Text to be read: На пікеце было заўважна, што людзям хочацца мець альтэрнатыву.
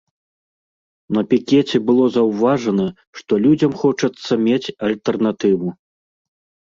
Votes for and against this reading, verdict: 1, 2, rejected